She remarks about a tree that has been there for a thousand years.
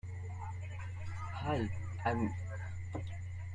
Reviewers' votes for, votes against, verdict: 1, 2, rejected